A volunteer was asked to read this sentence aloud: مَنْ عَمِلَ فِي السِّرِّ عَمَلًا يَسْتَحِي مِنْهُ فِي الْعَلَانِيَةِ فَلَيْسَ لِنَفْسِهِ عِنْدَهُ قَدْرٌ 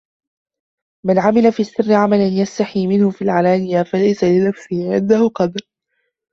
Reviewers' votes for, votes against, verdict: 2, 0, accepted